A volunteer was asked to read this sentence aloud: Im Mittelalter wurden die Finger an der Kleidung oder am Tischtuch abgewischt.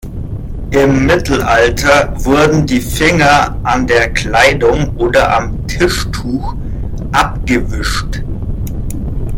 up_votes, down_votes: 1, 2